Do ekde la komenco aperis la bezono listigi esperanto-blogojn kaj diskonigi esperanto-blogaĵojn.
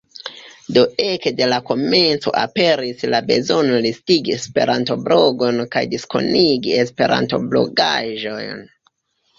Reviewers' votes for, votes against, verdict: 1, 2, rejected